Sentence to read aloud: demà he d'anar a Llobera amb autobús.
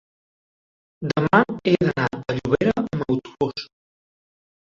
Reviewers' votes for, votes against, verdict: 1, 2, rejected